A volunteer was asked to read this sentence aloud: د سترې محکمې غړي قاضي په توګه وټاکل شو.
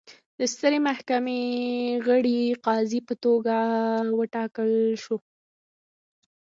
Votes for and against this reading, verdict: 1, 2, rejected